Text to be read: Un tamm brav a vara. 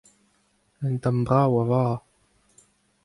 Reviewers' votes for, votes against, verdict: 2, 0, accepted